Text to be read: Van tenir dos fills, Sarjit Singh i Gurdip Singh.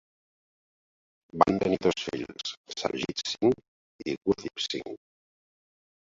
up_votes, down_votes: 1, 2